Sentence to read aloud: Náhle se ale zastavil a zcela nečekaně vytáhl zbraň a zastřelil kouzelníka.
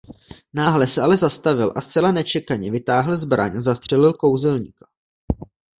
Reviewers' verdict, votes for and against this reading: rejected, 1, 2